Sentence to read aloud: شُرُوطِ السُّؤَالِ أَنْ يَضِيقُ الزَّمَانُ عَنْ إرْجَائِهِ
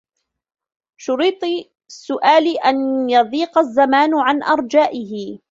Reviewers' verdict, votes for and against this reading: rejected, 0, 2